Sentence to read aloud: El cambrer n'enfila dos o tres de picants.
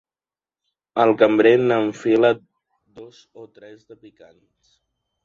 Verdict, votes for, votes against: rejected, 0, 2